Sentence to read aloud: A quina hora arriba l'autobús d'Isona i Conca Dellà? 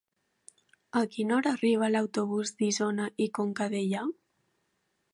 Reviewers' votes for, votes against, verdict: 4, 0, accepted